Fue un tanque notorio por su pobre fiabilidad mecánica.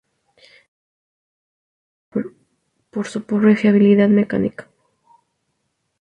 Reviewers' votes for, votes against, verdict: 0, 2, rejected